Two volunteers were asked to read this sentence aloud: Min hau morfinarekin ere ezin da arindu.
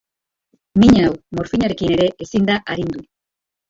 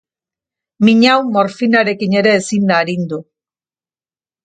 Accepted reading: second